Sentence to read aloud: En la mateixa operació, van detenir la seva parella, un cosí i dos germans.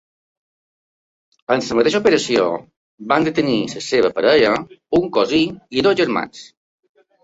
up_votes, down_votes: 0, 2